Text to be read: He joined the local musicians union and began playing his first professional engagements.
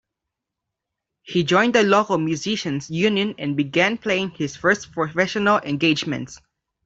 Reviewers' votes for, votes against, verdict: 1, 2, rejected